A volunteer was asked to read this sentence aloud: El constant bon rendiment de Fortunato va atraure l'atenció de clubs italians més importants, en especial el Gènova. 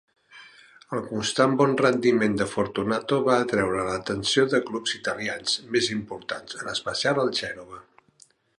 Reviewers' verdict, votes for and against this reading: accepted, 2, 1